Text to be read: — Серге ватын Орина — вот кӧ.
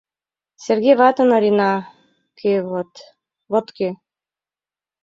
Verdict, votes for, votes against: rejected, 1, 2